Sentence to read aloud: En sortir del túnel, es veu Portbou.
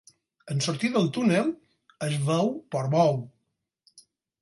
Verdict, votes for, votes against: accepted, 6, 0